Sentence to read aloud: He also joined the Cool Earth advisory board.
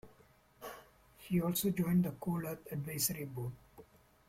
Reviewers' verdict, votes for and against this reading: accepted, 2, 1